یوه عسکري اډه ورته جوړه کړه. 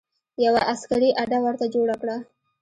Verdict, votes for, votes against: accepted, 2, 0